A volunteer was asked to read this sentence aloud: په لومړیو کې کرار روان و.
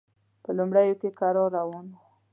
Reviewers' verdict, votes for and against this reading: accepted, 2, 0